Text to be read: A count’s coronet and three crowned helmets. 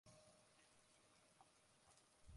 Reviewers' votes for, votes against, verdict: 0, 2, rejected